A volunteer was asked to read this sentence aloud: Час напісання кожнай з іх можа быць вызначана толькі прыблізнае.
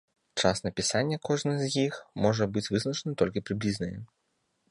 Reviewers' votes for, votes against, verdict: 2, 0, accepted